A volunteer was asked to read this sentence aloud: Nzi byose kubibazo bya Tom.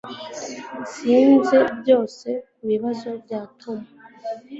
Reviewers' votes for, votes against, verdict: 1, 2, rejected